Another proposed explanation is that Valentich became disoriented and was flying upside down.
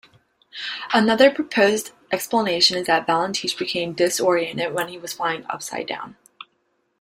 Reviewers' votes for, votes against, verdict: 1, 2, rejected